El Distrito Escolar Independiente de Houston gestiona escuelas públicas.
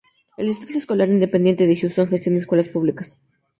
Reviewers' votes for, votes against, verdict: 2, 0, accepted